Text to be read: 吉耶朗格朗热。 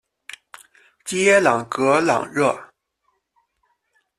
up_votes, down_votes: 0, 2